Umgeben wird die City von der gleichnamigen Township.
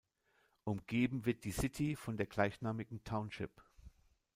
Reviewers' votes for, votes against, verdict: 1, 2, rejected